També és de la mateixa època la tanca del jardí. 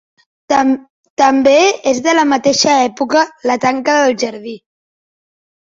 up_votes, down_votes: 0, 2